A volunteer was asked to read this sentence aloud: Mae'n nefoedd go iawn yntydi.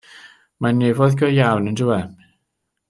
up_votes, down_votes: 0, 2